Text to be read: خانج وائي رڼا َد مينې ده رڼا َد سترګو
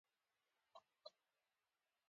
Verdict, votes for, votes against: rejected, 1, 2